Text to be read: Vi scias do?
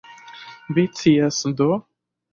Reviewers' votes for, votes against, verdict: 1, 2, rejected